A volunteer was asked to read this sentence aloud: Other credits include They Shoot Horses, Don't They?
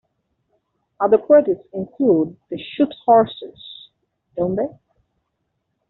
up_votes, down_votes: 1, 2